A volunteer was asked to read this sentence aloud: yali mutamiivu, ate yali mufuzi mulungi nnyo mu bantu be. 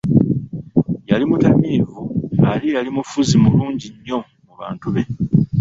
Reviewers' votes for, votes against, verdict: 1, 2, rejected